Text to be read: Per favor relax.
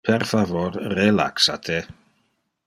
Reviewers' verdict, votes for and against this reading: rejected, 0, 2